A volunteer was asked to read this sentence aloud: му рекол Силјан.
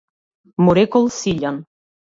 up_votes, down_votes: 2, 0